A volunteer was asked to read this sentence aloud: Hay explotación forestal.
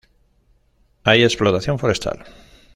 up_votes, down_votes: 1, 2